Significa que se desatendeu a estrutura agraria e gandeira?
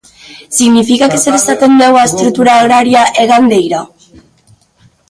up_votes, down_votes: 1, 2